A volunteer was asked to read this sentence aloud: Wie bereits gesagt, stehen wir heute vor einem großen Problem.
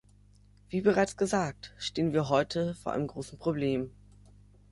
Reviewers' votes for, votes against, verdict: 2, 0, accepted